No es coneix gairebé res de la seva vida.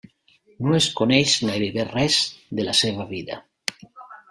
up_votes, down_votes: 1, 2